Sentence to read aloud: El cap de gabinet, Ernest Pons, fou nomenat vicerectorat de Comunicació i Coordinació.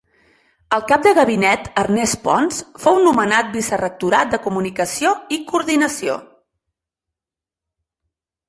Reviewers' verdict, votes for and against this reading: accepted, 4, 0